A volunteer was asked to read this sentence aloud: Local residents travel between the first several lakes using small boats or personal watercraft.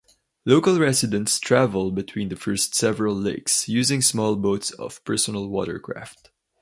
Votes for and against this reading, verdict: 2, 2, rejected